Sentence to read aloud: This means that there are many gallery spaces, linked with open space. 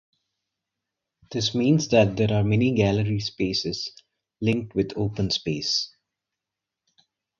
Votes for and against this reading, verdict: 4, 0, accepted